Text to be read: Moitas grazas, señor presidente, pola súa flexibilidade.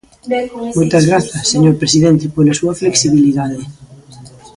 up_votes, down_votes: 2, 0